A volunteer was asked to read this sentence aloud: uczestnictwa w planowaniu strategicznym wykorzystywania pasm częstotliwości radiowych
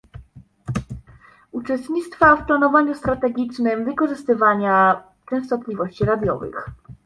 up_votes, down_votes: 0, 2